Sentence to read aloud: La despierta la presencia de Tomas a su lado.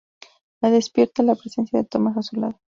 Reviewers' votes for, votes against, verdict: 2, 0, accepted